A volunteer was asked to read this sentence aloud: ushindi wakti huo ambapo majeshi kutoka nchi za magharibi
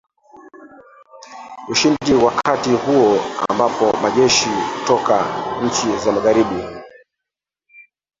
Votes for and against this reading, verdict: 0, 3, rejected